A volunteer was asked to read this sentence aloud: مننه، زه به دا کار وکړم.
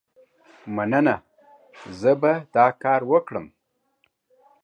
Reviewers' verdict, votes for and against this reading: accepted, 2, 0